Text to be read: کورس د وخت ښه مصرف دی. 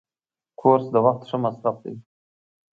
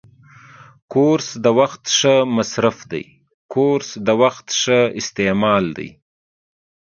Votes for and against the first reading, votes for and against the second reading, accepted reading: 2, 0, 0, 2, first